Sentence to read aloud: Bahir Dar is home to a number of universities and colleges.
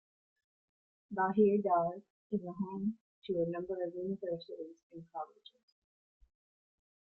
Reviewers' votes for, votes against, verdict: 3, 0, accepted